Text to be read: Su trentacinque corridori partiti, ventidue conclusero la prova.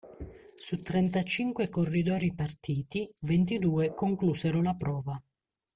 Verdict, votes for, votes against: accepted, 2, 0